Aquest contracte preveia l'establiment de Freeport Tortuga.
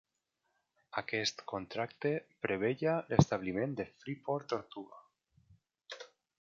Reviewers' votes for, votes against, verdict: 2, 0, accepted